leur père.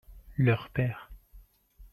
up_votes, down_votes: 2, 0